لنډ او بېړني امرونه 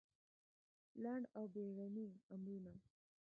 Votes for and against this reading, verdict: 0, 2, rejected